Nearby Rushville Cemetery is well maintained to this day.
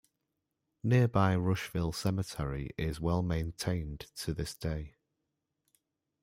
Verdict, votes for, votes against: accepted, 2, 1